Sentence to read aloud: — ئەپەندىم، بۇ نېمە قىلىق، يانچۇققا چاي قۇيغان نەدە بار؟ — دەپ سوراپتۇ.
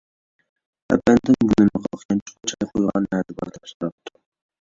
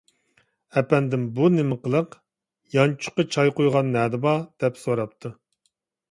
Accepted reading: second